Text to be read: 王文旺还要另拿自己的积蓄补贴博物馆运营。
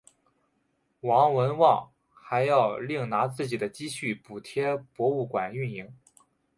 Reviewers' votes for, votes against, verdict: 2, 1, accepted